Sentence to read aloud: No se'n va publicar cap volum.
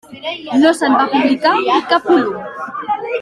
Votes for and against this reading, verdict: 0, 2, rejected